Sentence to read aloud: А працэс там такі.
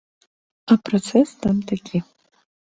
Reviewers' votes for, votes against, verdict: 3, 1, accepted